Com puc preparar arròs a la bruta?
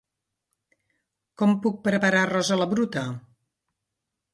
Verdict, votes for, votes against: accepted, 2, 0